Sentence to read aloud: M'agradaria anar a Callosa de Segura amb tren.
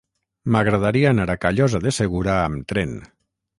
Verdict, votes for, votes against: rejected, 3, 3